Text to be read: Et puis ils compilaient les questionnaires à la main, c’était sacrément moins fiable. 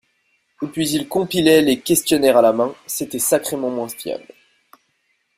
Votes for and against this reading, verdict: 2, 0, accepted